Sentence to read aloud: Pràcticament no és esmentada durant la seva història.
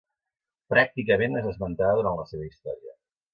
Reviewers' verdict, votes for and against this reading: accepted, 2, 0